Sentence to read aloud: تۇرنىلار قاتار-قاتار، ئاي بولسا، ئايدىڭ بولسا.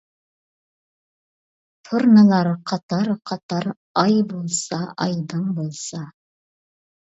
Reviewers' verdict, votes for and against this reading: accepted, 2, 0